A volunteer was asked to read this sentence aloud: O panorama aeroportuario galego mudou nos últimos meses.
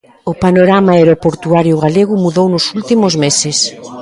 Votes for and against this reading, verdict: 1, 2, rejected